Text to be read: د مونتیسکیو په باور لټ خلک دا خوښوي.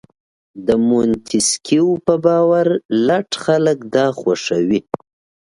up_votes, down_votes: 2, 0